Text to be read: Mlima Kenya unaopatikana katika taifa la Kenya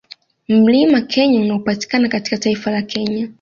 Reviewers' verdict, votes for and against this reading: accepted, 2, 1